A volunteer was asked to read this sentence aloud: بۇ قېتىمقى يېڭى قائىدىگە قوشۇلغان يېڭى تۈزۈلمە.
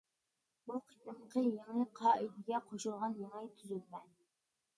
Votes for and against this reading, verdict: 1, 2, rejected